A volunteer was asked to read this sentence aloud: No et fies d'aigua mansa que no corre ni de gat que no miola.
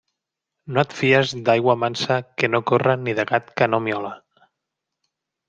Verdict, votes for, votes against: accepted, 3, 0